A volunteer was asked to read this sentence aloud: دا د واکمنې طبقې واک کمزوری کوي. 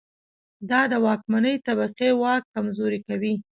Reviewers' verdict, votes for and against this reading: accepted, 2, 1